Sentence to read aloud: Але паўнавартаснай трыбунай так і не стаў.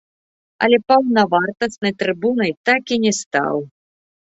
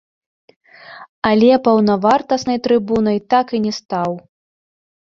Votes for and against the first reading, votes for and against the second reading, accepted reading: 2, 1, 0, 2, first